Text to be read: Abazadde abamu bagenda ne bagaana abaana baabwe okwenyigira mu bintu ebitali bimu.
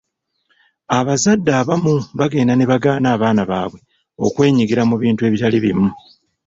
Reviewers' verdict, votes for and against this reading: rejected, 0, 2